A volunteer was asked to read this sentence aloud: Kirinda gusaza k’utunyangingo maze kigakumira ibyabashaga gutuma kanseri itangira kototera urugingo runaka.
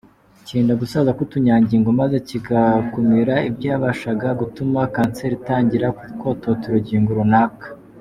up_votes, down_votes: 2, 0